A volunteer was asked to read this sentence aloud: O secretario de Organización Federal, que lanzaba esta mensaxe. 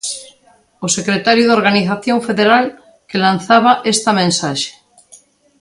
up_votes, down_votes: 2, 0